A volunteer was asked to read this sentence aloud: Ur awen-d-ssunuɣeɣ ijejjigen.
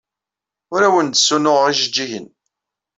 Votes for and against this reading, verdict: 2, 0, accepted